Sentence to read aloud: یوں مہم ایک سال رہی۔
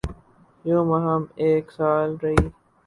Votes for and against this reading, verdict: 2, 2, rejected